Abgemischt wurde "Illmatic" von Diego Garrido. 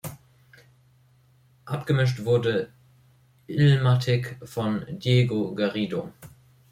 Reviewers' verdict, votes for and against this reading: rejected, 0, 2